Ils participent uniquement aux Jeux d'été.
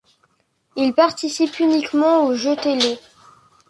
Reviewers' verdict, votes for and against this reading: rejected, 1, 2